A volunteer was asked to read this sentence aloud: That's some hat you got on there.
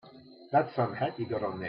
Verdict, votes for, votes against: rejected, 1, 2